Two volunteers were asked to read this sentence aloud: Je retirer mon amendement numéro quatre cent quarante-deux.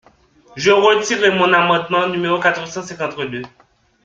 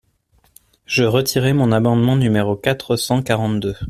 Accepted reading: second